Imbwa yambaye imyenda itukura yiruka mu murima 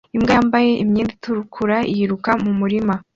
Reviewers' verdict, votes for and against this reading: accepted, 2, 1